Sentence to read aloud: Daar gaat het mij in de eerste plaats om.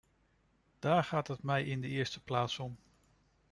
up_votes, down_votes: 2, 0